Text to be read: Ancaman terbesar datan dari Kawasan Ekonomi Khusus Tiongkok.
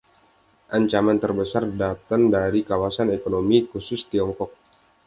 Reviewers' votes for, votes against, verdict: 2, 0, accepted